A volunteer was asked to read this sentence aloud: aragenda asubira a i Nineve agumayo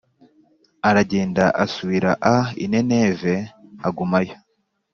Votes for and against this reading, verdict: 4, 0, accepted